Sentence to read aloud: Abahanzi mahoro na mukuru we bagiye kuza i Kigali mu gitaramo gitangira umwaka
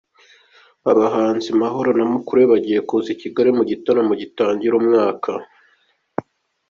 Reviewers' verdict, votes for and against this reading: accepted, 2, 1